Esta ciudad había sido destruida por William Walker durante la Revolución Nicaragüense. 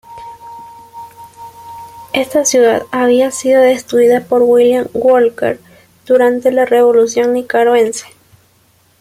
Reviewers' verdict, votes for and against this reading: rejected, 1, 2